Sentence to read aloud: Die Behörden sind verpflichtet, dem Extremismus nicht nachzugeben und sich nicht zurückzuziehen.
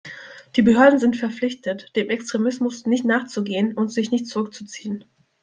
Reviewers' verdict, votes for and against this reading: rejected, 0, 2